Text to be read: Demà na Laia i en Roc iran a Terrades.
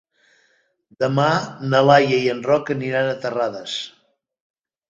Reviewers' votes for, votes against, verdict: 1, 2, rejected